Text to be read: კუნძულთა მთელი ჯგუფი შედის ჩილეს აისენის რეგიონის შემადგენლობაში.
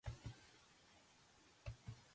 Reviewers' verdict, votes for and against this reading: rejected, 1, 5